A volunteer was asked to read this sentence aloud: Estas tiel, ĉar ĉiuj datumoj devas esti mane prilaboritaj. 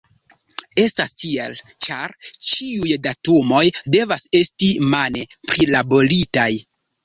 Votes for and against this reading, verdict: 1, 2, rejected